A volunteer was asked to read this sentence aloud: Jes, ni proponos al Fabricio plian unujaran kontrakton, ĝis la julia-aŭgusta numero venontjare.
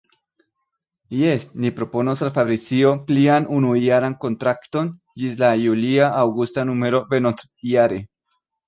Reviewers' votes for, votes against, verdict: 1, 3, rejected